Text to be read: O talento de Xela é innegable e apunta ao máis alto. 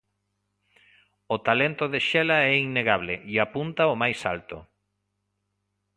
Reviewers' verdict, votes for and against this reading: accepted, 2, 0